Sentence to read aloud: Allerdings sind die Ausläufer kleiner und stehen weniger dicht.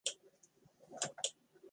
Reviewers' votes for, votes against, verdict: 0, 2, rejected